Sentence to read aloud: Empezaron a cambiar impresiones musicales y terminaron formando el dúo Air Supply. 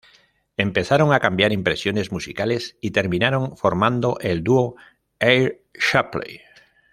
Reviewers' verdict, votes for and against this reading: rejected, 1, 2